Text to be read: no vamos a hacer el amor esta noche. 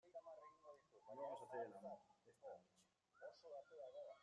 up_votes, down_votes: 0, 2